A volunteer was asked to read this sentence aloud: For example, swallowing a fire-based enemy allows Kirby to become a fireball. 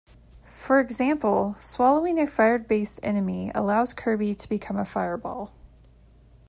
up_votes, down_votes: 2, 0